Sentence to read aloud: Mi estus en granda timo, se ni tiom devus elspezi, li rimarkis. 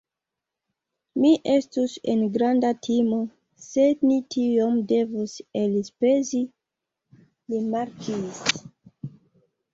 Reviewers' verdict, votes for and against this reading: rejected, 1, 2